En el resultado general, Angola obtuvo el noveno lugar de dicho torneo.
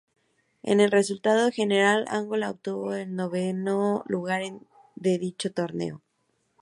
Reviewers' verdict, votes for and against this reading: rejected, 2, 6